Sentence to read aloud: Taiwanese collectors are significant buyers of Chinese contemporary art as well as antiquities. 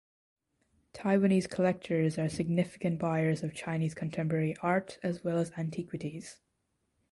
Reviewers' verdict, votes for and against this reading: accepted, 2, 0